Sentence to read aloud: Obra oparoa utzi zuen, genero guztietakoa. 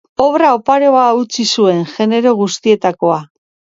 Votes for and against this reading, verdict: 3, 0, accepted